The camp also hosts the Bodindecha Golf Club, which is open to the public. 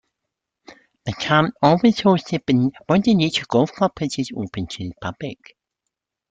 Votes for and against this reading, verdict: 0, 2, rejected